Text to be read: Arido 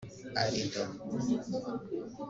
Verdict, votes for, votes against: rejected, 1, 2